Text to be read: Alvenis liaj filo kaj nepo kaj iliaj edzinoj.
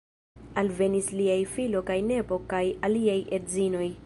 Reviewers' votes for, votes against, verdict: 1, 2, rejected